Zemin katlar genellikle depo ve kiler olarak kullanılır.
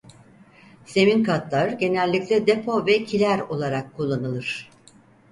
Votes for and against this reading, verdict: 4, 0, accepted